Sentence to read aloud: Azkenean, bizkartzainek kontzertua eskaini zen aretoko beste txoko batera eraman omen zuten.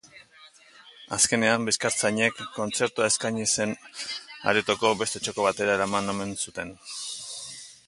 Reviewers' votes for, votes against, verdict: 2, 0, accepted